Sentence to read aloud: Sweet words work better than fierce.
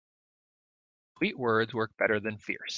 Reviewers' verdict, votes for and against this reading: rejected, 0, 2